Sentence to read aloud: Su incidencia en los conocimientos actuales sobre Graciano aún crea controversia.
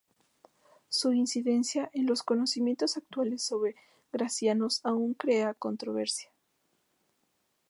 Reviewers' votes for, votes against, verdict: 0, 2, rejected